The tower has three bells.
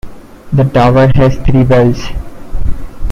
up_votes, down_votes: 2, 0